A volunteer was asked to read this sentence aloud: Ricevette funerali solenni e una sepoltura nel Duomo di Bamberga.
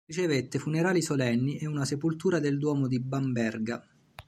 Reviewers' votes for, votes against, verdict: 1, 2, rejected